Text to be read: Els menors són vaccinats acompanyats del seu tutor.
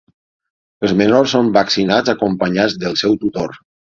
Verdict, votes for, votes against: accepted, 6, 0